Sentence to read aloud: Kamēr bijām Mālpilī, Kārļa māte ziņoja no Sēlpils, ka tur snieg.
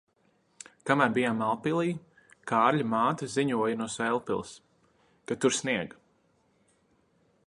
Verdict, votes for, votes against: accepted, 2, 0